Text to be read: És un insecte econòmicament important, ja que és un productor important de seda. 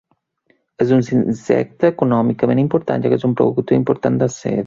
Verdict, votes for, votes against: rejected, 0, 7